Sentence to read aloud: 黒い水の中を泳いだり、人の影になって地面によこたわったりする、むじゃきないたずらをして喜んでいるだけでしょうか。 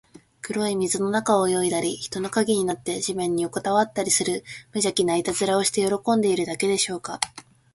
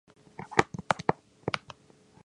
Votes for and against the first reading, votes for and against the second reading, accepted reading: 2, 0, 0, 3, first